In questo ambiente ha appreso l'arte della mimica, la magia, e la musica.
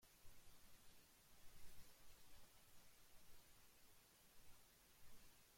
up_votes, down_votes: 0, 2